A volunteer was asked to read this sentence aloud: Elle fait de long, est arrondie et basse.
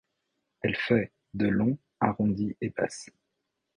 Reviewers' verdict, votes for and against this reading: rejected, 0, 2